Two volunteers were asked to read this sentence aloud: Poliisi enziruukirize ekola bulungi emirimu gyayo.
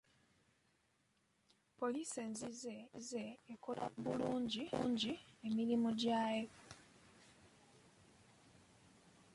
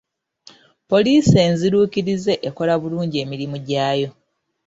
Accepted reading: second